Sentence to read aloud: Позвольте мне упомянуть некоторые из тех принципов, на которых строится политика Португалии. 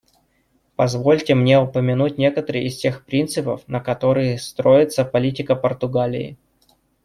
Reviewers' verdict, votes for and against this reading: rejected, 1, 2